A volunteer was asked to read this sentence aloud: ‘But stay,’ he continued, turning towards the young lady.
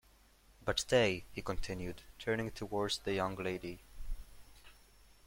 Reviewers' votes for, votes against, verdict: 2, 0, accepted